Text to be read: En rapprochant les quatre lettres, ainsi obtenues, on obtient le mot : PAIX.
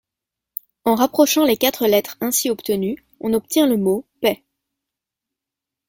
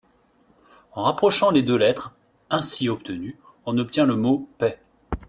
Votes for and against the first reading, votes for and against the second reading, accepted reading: 2, 0, 0, 3, first